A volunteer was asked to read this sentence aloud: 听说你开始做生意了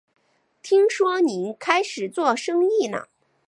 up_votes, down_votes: 3, 1